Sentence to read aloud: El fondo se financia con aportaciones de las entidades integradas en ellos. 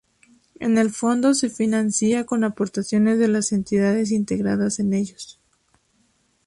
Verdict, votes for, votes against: rejected, 0, 2